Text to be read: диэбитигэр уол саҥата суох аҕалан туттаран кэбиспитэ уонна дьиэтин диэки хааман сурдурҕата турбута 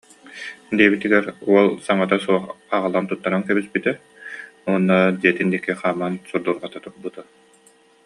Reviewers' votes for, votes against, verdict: 2, 0, accepted